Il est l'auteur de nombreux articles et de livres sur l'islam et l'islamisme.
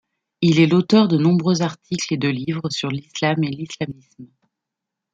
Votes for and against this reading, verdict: 1, 2, rejected